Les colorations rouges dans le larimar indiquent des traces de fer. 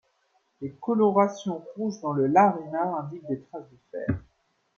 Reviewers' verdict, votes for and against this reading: accepted, 2, 0